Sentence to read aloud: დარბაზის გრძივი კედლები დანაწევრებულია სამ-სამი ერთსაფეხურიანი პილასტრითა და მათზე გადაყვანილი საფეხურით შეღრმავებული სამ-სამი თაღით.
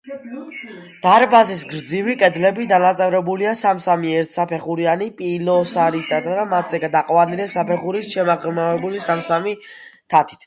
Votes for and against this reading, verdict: 0, 2, rejected